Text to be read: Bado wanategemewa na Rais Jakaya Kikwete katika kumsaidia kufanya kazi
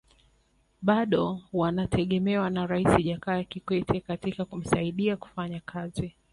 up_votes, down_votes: 3, 1